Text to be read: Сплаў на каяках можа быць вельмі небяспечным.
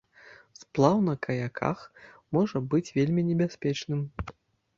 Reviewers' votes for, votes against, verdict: 0, 2, rejected